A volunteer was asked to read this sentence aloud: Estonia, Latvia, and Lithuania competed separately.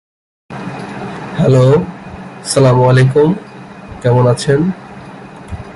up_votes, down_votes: 0, 2